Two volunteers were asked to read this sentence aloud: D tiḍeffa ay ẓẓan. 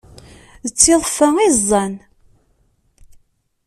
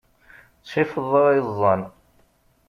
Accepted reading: first